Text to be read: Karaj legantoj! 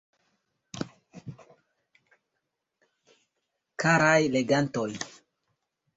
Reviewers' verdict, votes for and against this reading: accepted, 2, 0